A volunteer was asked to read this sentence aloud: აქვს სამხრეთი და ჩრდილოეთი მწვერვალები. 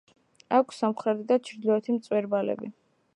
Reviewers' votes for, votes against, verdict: 1, 2, rejected